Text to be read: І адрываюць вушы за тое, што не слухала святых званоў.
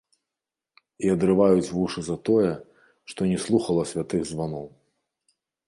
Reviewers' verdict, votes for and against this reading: rejected, 1, 2